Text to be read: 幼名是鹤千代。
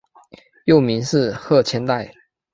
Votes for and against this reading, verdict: 3, 0, accepted